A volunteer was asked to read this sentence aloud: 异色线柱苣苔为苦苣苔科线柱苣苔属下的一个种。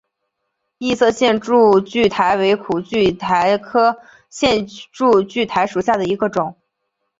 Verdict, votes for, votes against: accepted, 2, 0